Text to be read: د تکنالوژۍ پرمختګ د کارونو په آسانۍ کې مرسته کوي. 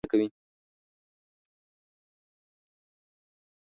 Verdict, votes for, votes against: rejected, 0, 2